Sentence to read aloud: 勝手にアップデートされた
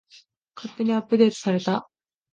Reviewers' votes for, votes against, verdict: 2, 0, accepted